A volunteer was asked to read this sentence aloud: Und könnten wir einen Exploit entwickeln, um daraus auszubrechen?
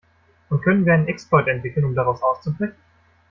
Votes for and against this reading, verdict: 0, 2, rejected